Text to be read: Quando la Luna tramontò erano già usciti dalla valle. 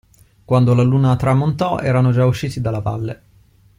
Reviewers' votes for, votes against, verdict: 2, 0, accepted